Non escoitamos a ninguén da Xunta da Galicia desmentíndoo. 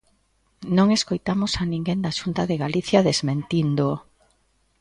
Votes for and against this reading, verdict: 1, 2, rejected